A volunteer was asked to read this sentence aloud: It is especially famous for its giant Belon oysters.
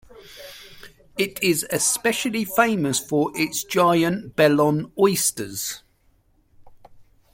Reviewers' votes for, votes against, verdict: 2, 0, accepted